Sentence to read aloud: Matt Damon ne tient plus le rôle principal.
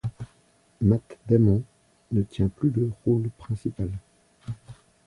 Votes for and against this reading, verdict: 0, 2, rejected